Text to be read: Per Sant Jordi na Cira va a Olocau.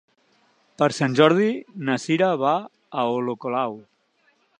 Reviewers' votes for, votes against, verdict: 0, 2, rejected